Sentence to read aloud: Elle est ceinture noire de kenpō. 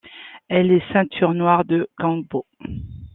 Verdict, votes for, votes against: accepted, 2, 0